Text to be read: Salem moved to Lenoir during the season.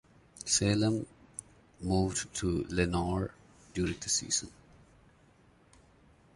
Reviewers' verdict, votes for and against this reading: accepted, 2, 0